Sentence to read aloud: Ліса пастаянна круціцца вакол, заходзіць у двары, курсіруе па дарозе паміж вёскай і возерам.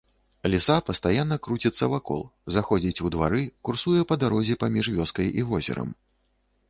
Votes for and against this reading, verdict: 1, 2, rejected